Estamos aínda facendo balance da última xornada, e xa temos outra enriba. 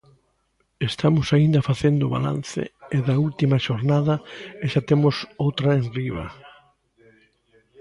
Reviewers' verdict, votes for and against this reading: rejected, 0, 2